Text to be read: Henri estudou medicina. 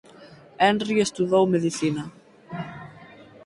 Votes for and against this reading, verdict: 2, 4, rejected